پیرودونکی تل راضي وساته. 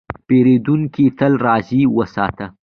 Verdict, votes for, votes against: accepted, 3, 0